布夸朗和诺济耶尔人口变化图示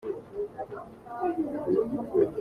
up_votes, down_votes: 0, 2